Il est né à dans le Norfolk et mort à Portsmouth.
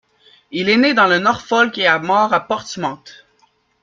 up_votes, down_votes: 2, 1